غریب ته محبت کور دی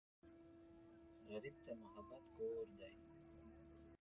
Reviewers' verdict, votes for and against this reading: rejected, 1, 2